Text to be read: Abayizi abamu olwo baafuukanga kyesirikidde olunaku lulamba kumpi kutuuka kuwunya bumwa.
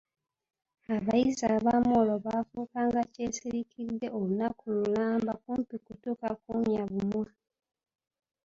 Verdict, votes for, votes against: rejected, 0, 2